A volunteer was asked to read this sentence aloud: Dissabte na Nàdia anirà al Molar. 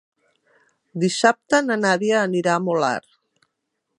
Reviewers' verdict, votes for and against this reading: rejected, 1, 4